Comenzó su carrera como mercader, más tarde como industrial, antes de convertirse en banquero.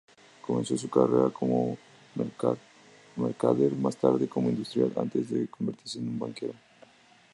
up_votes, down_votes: 2, 2